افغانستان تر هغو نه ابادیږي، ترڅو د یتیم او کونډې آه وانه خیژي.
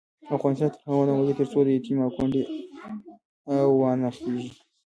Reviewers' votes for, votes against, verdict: 1, 2, rejected